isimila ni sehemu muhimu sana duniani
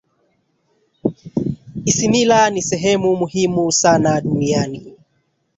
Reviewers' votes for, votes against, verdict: 1, 2, rejected